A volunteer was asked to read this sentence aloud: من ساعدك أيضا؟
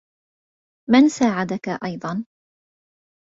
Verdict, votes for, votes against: accepted, 2, 1